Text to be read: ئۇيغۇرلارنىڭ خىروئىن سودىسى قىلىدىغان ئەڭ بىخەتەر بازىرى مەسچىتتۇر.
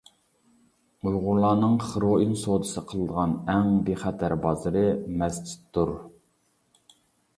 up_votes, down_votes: 2, 0